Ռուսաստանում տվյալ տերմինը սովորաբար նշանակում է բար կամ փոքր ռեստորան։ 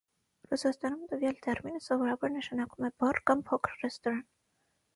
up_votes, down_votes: 6, 0